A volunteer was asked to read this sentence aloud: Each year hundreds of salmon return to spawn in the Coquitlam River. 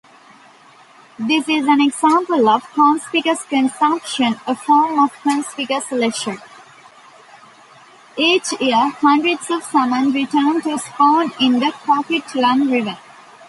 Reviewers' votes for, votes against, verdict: 0, 2, rejected